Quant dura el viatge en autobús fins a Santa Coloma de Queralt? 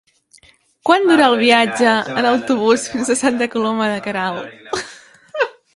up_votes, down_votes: 1, 2